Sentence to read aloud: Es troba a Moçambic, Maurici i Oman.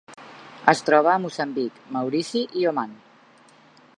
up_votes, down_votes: 4, 0